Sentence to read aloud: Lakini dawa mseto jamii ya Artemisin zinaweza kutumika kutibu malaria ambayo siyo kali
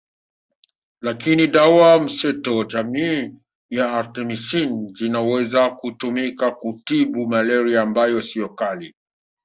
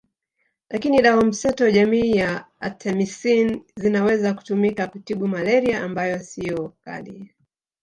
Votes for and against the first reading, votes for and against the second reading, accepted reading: 1, 2, 2, 0, second